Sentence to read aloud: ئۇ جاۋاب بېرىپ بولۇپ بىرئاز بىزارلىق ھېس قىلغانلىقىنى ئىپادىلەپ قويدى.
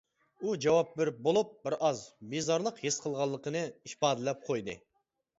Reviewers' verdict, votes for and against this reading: accepted, 2, 1